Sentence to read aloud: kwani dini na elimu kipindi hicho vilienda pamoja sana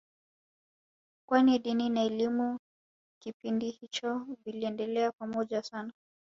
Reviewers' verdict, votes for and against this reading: accepted, 3, 0